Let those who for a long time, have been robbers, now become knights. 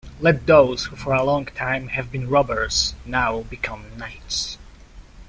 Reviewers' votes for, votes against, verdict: 2, 0, accepted